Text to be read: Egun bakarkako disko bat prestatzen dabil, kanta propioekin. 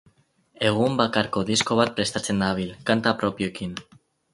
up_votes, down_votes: 0, 6